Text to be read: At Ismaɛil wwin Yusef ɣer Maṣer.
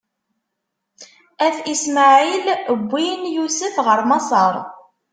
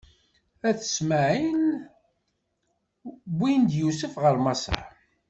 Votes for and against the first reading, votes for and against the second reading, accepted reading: 2, 0, 0, 2, first